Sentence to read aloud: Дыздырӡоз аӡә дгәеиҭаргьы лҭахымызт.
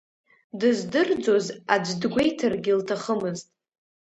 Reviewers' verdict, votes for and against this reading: accepted, 2, 0